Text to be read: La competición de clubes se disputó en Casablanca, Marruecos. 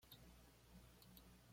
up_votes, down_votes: 1, 2